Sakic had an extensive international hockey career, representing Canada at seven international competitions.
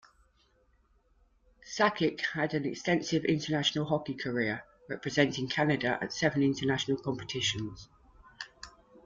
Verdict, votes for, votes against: accepted, 2, 0